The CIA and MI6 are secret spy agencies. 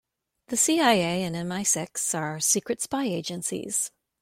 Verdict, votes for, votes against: rejected, 0, 2